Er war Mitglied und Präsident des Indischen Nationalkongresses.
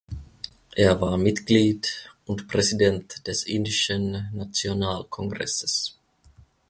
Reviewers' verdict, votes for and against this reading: accepted, 2, 0